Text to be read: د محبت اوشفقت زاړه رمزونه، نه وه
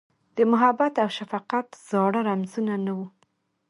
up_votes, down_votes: 2, 0